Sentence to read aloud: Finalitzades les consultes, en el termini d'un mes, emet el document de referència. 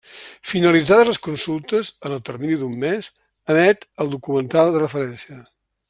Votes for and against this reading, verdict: 0, 3, rejected